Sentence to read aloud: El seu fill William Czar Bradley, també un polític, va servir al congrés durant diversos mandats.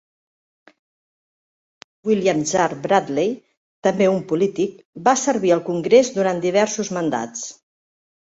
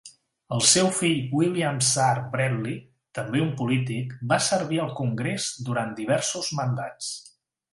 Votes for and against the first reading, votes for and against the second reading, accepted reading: 1, 2, 2, 0, second